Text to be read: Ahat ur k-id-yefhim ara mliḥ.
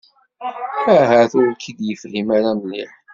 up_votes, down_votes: 0, 2